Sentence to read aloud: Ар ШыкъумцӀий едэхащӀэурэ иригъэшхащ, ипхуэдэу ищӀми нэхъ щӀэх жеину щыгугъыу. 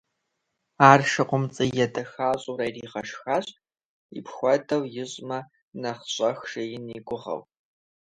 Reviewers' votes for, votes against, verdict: 0, 2, rejected